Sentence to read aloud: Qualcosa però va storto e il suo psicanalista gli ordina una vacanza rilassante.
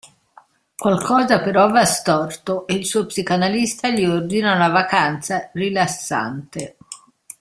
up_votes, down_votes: 2, 1